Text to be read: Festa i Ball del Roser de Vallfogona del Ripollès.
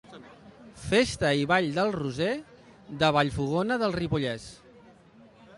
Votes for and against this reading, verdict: 2, 0, accepted